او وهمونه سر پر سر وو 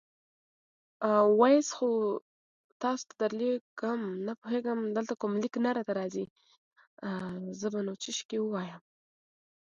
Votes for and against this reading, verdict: 0, 2, rejected